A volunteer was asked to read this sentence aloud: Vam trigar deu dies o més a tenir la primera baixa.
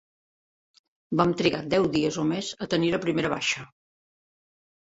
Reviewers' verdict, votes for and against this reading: accepted, 3, 0